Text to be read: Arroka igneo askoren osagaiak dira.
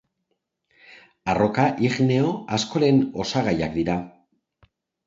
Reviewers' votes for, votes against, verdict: 3, 0, accepted